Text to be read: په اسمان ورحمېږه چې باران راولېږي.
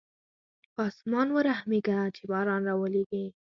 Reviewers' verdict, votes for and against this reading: accepted, 4, 0